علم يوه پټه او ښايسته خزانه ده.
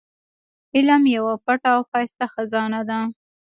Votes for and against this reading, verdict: 0, 2, rejected